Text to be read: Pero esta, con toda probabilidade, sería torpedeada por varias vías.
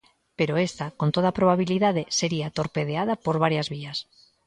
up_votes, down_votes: 2, 0